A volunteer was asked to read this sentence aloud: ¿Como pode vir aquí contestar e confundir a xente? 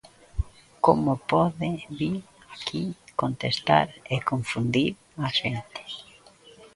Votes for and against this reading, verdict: 2, 0, accepted